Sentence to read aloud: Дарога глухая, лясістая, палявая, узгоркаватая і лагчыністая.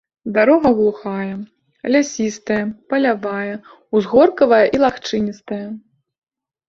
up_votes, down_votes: 2, 0